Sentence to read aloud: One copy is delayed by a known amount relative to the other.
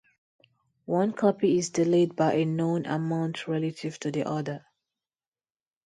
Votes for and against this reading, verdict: 0, 2, rejected